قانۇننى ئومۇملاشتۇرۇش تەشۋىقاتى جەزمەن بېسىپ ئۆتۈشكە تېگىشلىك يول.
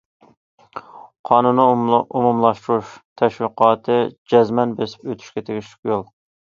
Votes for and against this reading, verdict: 0, 2, rejected